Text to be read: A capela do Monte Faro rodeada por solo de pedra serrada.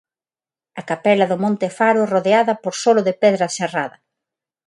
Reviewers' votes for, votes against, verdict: 6, 0, accepted